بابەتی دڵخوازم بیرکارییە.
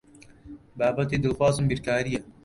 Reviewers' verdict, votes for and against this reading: rejected, 1, 2